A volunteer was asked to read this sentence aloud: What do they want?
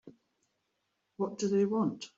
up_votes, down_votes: 3, 0